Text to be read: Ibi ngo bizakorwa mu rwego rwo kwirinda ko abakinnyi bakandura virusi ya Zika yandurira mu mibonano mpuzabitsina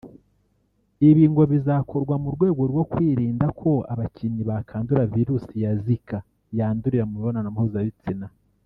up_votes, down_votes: 0, 2